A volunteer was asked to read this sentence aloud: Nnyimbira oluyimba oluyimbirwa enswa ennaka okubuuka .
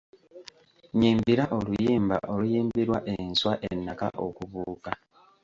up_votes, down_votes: 3, 0